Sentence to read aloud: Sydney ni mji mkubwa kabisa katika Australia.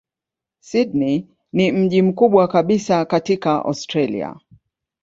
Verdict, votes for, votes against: accepted, 5, 0